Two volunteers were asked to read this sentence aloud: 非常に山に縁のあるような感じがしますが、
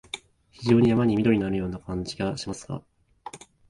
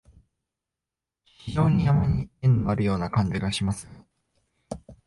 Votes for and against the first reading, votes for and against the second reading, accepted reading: 2, 0, 0, 2, first